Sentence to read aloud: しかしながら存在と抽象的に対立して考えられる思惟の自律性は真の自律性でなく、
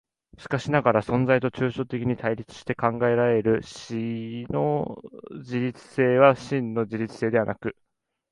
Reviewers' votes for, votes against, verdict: 1, 2, rejected